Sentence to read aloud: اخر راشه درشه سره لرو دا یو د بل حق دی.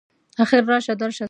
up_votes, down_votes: 1, 2